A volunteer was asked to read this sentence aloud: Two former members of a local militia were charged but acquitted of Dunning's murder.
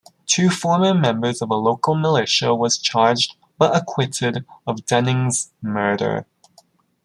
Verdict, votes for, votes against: rejected, 0, 3